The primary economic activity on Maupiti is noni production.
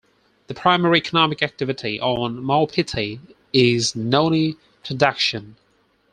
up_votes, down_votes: 4, 0